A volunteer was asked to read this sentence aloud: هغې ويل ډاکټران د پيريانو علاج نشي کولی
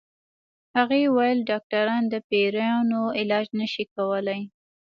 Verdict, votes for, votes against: accepted, 2, 0